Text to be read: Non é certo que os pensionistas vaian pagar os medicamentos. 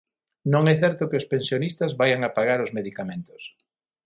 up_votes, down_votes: 0, 6